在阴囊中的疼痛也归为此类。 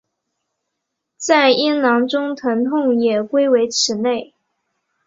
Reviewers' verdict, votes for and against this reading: rejected, 1, 2